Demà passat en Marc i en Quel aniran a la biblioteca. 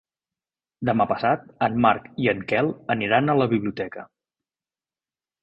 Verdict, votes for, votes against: accepted, 3, 0